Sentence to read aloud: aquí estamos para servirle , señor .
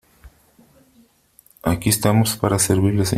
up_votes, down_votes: 1, 3